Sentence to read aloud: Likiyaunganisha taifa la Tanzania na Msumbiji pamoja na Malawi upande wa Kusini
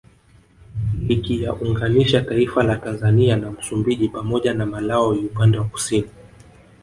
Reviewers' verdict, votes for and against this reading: rejected, 1, 2